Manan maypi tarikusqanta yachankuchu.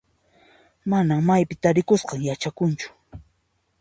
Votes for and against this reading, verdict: 1, 2, rejected